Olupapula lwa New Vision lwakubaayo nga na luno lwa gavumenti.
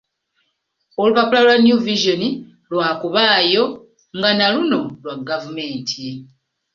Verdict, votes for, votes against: accepted, 2, 1